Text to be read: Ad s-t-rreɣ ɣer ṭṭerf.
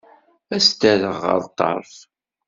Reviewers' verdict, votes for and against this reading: accepted, 2, 0